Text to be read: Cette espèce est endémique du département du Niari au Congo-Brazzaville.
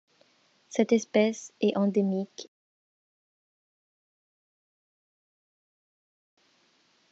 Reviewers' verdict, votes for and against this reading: rejected, 0, 2